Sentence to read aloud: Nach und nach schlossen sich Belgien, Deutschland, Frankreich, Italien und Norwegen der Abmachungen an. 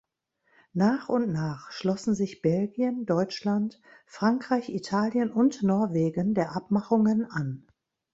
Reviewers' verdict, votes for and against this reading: accepted, 3, 0